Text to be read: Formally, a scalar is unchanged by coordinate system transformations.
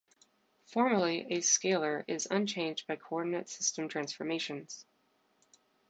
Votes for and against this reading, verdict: 2, 0, accepted